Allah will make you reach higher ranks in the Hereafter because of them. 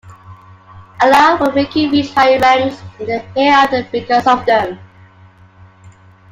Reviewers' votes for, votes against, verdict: 2, 0, accepted